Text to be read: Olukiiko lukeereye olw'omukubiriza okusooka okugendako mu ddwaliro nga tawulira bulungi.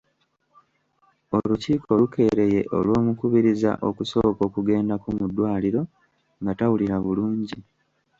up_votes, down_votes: 1, 2